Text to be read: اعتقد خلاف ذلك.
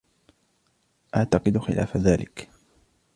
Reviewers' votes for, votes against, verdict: 2, 0, accepted